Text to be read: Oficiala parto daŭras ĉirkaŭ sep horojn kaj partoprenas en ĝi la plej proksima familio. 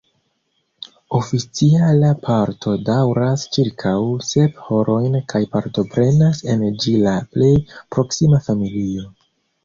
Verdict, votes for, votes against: accepted, 2, 0